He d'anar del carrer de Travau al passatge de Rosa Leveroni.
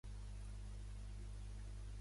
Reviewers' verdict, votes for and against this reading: rejected, 0, 3